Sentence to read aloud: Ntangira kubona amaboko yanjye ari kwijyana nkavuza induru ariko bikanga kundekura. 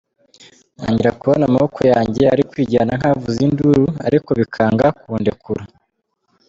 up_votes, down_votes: 1, 2